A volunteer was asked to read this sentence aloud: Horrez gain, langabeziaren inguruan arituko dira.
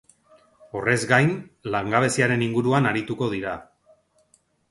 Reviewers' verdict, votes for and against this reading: accepted, 2, 0